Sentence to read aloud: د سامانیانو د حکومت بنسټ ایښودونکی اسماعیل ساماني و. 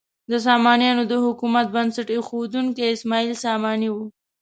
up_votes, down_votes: 2, 0